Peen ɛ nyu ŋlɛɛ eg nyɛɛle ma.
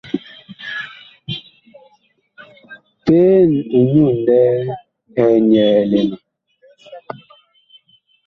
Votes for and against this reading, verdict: 2, 0, accepted